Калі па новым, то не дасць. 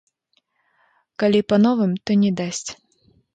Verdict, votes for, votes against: rejected, 0, 2